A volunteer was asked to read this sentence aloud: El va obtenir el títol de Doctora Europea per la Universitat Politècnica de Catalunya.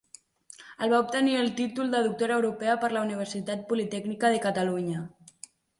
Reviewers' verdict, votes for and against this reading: accepted, 2, 0